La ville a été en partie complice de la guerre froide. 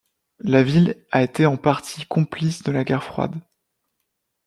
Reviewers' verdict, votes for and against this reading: accepted, 2, 0